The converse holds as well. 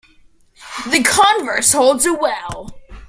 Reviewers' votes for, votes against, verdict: 2, 0, accepted